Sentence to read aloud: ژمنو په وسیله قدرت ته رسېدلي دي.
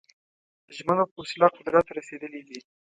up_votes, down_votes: 1, 2